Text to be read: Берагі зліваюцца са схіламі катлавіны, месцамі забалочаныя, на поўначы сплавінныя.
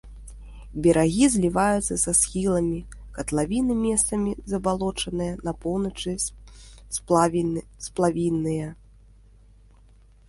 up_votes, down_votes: 0, 2